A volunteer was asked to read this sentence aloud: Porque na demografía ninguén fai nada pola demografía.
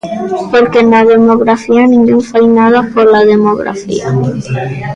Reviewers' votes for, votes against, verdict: 1, 2, rejected